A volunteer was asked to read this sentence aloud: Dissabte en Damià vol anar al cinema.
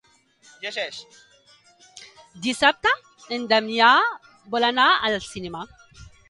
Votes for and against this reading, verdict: 1, 2, rejected